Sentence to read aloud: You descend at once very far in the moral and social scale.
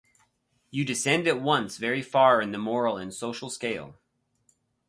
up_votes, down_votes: 4, 0